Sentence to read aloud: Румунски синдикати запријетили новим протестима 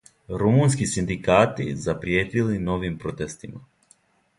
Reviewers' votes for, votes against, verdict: 2, 0, accepted